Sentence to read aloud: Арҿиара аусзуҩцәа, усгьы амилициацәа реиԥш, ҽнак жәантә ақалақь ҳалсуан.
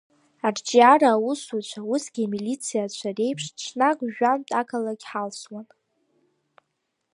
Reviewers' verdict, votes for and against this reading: accepted, 5, 2